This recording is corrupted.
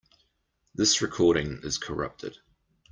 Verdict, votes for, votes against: accepted, 2, 1